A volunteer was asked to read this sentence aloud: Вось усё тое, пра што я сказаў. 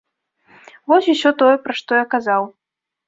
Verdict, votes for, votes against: rejected, 0, 2